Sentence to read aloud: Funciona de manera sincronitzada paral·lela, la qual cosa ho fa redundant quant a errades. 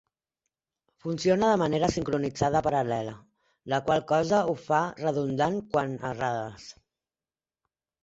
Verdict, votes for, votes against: accepted, 3, 0